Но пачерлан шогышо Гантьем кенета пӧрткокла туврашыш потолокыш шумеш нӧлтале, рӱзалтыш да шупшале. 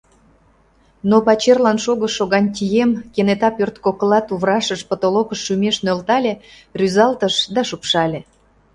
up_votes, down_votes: 2, 0